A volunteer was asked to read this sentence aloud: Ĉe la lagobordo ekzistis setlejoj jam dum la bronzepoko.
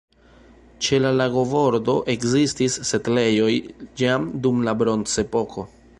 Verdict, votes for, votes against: rejected, 1, 2